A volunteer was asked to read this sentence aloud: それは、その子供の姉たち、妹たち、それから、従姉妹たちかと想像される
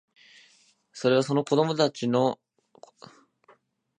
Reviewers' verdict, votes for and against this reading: rejected, 1, 2